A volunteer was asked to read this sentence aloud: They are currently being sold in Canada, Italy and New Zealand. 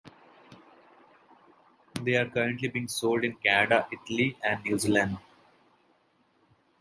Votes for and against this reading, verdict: 2, 0, accepted